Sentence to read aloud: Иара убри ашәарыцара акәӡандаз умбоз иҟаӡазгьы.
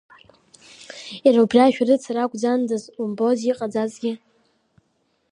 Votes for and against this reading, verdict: 2, 0, accepted